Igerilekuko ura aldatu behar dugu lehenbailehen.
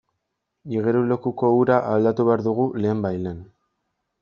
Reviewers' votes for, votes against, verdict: 2, 0, accepted